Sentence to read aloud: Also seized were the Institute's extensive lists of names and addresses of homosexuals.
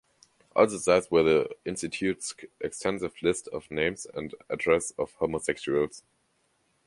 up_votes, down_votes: 1, 2